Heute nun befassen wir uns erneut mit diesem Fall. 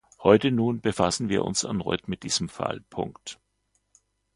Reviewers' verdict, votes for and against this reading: rejected, 0, 2